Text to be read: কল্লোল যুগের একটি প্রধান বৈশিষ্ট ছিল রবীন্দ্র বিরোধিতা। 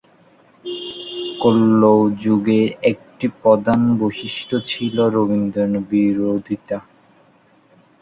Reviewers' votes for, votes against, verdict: 0, 2, rejected